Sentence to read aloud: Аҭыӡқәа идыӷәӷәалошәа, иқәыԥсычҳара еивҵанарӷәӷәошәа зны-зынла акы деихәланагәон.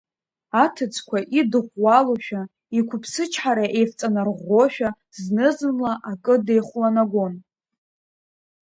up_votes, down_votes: 2, 0